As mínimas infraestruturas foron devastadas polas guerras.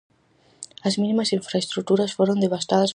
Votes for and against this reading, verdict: 0, 4, rejected